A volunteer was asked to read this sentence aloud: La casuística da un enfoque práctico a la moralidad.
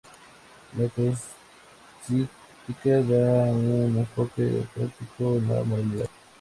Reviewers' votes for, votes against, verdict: 0, 2, rejected